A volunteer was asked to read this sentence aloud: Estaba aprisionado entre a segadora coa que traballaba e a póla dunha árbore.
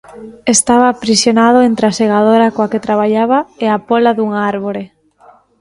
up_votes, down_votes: 1, 2